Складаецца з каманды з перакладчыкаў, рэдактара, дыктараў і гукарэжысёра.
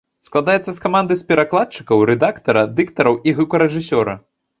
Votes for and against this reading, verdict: 3, 0, accepted